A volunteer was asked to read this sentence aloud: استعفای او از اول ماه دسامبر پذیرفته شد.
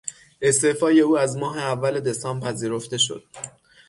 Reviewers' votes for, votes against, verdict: 0, 6, rejected